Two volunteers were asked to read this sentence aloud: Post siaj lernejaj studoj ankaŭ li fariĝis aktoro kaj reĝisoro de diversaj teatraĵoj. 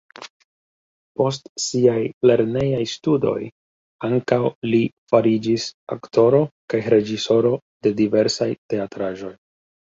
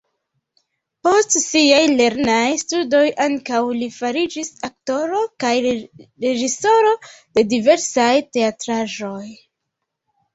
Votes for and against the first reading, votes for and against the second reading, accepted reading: 2, 0, 0, 2, first